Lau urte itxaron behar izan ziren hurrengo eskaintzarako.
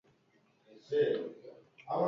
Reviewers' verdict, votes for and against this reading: rejected, 0, 4